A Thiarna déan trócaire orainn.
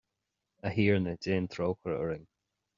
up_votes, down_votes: 2, 0